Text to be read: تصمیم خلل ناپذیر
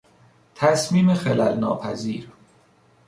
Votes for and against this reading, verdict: 2, 0, accepted